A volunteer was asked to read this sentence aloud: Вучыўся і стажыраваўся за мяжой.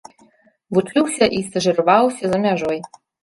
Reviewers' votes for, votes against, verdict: 2, 0, accepted